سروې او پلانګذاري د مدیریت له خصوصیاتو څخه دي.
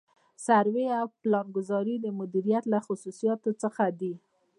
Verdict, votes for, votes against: accepted, 2, 1